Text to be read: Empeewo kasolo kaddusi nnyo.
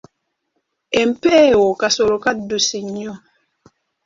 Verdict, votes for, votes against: accepted, 2, 1